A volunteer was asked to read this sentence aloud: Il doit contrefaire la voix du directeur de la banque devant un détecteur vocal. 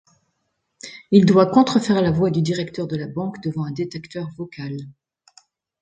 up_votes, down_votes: 2, 0